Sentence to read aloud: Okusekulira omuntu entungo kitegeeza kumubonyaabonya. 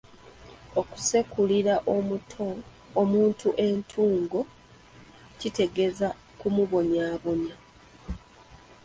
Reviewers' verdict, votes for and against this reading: rejected, 0, 2